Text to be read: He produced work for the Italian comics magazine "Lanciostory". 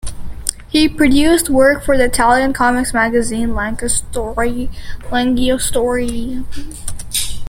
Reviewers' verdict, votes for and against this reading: rejected, 0, 2